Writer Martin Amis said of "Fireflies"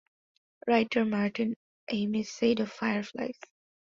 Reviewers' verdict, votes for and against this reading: accepted, 2, 0